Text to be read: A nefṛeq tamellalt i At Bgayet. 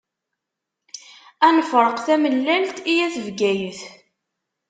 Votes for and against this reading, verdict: 2, 0, accepted